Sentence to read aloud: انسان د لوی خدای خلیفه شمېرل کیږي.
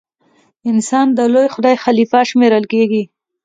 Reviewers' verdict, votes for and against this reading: accepted, 2, 0